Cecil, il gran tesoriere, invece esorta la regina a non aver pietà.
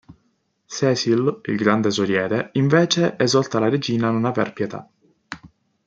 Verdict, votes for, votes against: accepted, 2, 0